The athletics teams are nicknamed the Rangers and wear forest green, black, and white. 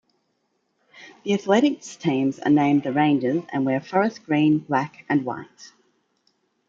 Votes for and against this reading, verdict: 0, 2, rejected